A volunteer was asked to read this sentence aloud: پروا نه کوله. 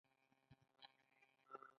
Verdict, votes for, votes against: accepted, 2, 1